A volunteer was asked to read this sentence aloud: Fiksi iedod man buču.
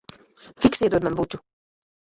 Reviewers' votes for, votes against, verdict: 1, 2, rejected